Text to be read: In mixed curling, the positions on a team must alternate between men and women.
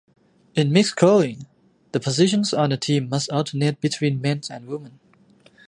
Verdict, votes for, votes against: rejected, 0, 2